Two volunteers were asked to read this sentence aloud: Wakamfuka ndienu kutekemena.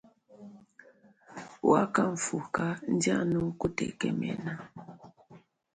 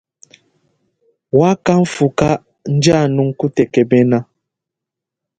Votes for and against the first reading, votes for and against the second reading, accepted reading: 2, 1, 1, 2, first